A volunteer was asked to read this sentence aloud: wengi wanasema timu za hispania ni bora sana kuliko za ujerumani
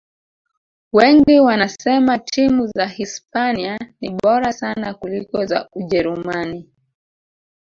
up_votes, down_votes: 1, 2